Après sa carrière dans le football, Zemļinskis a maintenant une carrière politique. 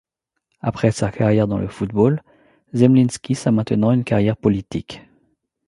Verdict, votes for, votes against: accepted, 3, 0